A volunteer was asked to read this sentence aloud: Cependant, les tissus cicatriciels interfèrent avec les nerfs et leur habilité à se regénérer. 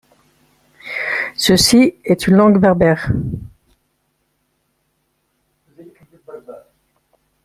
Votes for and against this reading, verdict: 1, 2, rejected